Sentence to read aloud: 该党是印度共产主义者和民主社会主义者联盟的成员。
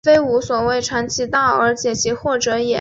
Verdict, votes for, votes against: rejected, 2, 5